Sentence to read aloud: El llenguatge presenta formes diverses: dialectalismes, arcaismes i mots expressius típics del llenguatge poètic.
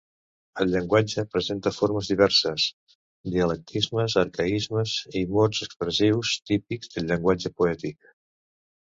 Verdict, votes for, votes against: rejected, 0, 2